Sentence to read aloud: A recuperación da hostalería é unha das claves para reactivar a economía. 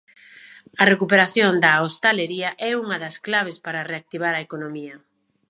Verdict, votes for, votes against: accepted, 2, 0